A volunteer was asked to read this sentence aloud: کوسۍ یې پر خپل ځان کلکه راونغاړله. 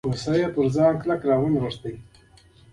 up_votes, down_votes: 1, 2